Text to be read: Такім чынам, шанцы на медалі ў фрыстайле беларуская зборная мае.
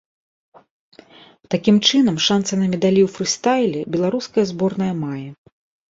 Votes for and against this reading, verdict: 2, 0, accepted